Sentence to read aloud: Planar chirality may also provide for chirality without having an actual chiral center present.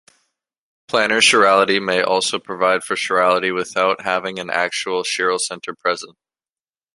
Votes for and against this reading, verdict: 1, 2, rejected